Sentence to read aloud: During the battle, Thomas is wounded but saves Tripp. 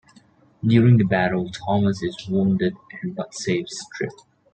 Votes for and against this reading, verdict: 2, 1, accepted